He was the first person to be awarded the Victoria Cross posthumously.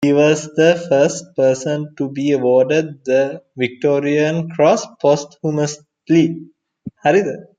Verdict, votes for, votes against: rejected, 1, 2